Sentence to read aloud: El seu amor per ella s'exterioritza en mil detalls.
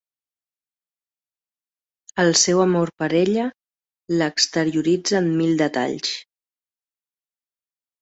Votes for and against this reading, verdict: 0, 2, rejected